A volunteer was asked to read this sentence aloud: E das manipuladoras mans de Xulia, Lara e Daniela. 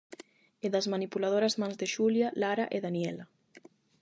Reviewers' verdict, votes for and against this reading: accepted, 8, 0